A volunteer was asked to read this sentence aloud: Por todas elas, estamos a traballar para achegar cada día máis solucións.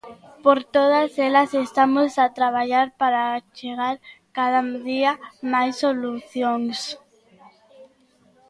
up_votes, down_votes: 0, 2